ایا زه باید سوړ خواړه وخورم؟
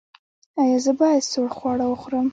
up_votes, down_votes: 2, 1